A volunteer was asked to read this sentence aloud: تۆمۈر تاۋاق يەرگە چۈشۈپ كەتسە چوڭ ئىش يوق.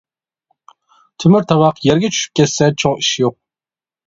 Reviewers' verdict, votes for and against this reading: accepted, 2, 0